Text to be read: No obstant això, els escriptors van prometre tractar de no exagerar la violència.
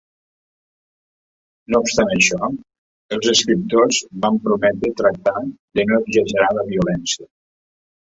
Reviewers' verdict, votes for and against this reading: rejected, 1, 2